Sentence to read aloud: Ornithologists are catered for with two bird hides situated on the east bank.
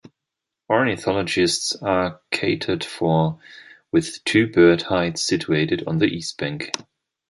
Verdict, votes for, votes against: accepted, 2, 0